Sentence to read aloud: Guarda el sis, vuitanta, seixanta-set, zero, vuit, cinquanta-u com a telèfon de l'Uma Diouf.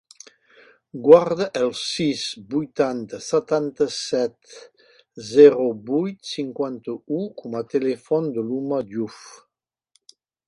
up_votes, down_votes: 2, 0